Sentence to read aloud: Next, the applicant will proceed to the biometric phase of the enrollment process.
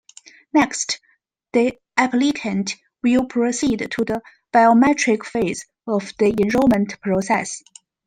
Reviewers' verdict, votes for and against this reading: accepted, 2, 0